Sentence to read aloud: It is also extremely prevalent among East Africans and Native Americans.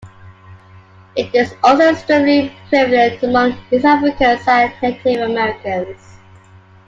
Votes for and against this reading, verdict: 1, 2, rejected